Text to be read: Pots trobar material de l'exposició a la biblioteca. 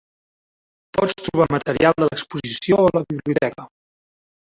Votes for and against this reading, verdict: 0, 2, rejected